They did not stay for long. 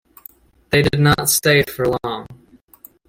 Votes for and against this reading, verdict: 2, 1, accepted